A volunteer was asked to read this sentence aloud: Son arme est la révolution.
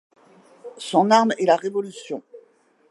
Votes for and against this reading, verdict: 2, 0, accepted